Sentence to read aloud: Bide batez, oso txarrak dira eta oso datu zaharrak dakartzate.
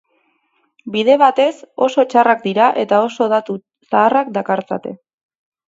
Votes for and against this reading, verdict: 8, 0, accepted